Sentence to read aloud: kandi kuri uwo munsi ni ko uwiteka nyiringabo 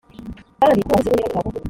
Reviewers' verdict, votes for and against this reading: rejected, 0, 2